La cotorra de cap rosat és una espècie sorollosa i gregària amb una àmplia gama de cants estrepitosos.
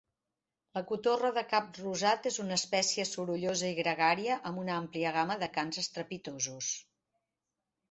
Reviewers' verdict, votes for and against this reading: accepted, 2, 0